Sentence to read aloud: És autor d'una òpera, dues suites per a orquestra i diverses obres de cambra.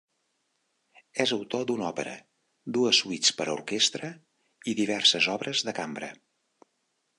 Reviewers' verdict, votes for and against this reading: accepted, 2, 0